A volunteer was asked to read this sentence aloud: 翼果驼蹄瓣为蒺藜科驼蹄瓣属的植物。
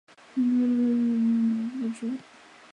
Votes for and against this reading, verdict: 1, 2, rejected